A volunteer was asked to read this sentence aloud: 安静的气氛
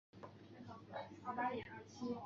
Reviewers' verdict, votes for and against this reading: rejected, 0, 3